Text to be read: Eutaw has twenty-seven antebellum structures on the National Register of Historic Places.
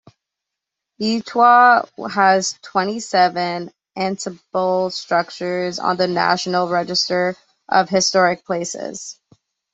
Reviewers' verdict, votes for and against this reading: rejected, 1, 2